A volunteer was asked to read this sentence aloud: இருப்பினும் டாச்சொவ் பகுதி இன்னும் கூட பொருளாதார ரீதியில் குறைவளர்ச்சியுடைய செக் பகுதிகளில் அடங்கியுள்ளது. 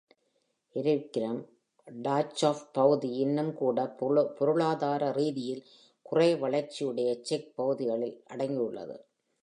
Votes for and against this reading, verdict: 1, 2, rejected